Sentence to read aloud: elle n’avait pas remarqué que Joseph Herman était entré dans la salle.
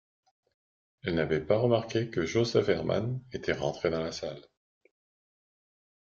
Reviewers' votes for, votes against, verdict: 1, 2, rejected